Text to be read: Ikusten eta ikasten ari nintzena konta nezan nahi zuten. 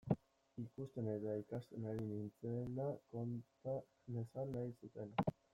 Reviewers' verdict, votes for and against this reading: rejected, 0, 2